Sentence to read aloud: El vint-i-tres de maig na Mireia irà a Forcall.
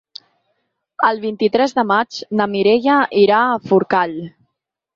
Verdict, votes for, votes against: accepted, 6, 0